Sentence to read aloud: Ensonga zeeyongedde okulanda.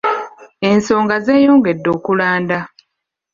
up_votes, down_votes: 2, 0